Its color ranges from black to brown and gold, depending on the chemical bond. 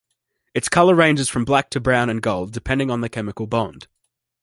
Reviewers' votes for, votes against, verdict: 2, 0, accepted